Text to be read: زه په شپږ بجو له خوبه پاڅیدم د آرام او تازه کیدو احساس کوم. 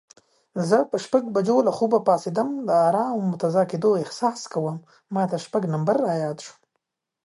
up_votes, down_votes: 0, 2